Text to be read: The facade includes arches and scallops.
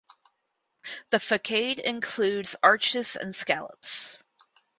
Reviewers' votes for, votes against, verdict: 2, 2, rejected